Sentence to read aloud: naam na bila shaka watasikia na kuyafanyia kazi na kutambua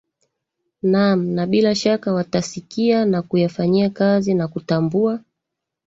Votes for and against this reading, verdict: 2, 0, accepted